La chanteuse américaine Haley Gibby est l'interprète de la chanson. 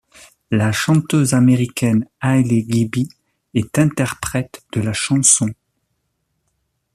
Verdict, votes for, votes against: rejected, 1, 2